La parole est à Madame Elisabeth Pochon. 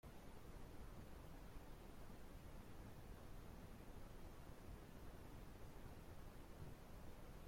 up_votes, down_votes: 0, 2